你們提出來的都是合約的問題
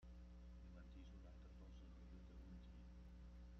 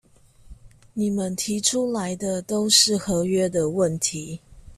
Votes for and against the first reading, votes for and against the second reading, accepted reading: 0, 2, 2, 0, second